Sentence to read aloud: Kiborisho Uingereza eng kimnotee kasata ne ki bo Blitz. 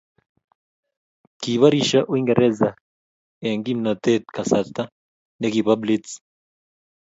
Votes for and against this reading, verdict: 2, 0, accepted